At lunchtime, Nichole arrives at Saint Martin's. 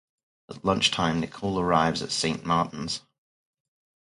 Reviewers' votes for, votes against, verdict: 4, 0, accepted